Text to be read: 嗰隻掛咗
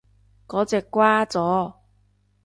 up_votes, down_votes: 1, 2